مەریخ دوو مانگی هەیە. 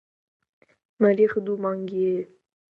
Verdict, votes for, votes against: accepted, 2, 0